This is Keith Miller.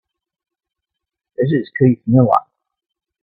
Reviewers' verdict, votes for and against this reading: accepted, 2, 0